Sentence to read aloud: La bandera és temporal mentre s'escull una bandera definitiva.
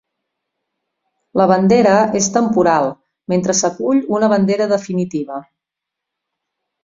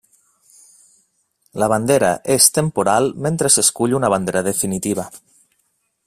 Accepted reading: second